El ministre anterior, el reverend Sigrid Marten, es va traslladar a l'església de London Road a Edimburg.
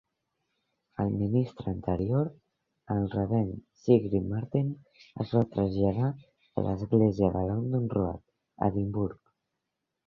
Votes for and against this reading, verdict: 1, 2, rejected